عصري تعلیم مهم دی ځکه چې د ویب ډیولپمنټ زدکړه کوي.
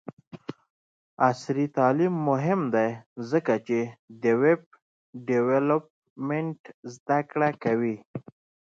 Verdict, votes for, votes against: accepted, 2, 1